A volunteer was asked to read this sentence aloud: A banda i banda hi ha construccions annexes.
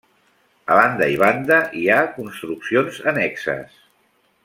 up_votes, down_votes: 3, 1